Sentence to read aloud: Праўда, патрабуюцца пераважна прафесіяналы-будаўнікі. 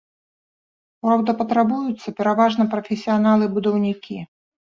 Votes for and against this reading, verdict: 1, 2, rejected